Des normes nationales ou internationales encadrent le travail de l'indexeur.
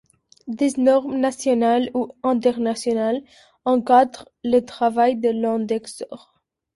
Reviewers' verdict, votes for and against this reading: rejected, 0, 2